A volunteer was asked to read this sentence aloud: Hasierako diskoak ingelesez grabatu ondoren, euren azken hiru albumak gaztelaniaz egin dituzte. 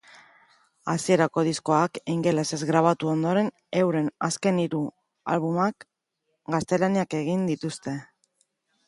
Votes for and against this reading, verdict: 0, 2, rejected